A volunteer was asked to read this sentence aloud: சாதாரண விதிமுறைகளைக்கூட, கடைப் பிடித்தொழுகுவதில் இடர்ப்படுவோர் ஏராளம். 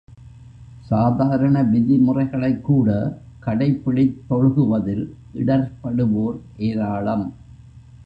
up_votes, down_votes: 2, 1